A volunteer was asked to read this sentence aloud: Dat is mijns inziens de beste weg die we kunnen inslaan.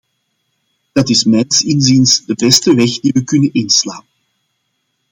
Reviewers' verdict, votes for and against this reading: accepted, 2, 0